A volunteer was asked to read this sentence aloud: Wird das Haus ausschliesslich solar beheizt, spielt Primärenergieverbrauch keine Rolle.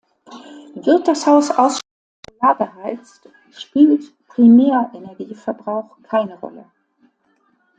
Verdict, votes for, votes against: rejected, 0, 2